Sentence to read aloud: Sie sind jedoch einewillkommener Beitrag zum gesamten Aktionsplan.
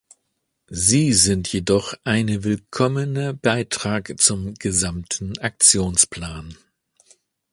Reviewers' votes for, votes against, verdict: 1, 2, rejected